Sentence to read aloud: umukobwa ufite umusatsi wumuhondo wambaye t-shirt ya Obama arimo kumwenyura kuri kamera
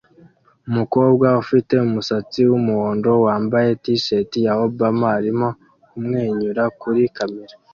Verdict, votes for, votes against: accepted, 2, 0